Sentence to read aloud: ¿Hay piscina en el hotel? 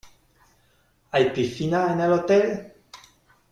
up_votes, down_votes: 2, 1